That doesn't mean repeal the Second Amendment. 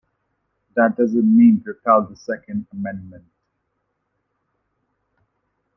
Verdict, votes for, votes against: accepted, 2, 1